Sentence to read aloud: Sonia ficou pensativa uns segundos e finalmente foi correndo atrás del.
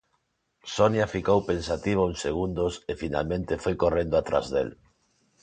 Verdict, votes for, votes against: accepted, 2, 0